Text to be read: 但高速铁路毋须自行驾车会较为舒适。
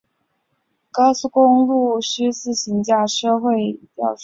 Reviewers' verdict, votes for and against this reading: accepted, 2, 1